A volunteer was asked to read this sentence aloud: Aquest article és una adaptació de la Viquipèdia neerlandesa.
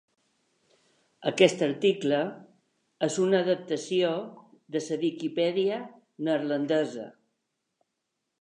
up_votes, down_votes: 1, 2